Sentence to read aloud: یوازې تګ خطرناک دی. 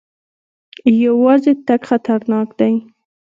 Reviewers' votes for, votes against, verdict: 2, 0, accepted